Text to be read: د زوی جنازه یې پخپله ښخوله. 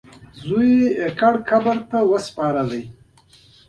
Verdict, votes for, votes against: rejected, 1, 2